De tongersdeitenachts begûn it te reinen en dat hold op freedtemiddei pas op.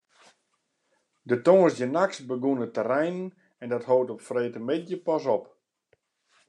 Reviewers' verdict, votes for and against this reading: rejected, 0, 2